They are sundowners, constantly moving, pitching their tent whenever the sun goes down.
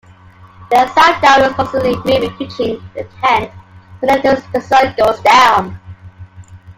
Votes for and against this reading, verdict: 2, 1, accepted